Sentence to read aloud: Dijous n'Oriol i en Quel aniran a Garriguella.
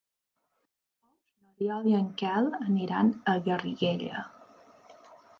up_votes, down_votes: 2, 3